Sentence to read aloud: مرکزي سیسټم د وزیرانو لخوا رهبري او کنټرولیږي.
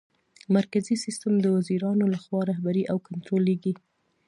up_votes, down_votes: 2, 0